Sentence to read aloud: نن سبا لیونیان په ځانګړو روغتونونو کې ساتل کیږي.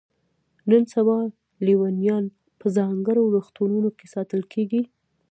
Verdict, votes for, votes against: rejected, 0, 2